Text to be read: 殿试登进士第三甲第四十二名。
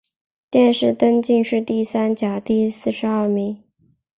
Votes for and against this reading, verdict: 8, 0, accepted